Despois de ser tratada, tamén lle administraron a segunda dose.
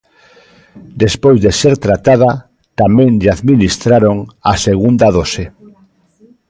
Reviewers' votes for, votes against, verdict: 1, 2, rejected